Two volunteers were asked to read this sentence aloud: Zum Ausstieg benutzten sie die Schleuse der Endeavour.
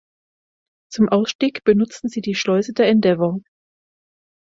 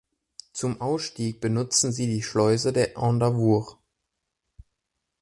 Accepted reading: first